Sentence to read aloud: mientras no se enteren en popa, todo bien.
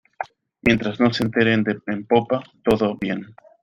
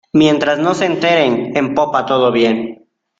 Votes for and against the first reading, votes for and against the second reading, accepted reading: 0, 2, 2, 0, second